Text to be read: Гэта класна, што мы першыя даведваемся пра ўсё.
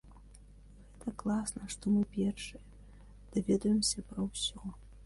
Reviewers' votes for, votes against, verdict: 1, 2, rejected